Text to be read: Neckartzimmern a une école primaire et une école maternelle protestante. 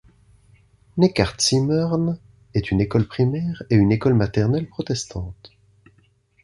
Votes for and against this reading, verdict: 1, 2, rejected